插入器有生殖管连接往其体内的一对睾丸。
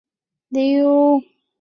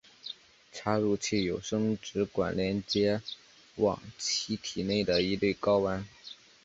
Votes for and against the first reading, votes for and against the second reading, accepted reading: 1, 2, 2, 0, second